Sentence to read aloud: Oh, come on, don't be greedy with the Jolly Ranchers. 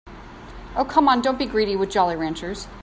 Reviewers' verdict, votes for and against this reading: rejected, 0, 2